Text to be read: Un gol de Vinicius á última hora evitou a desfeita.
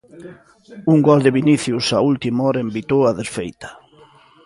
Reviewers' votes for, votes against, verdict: 0, 2, rejected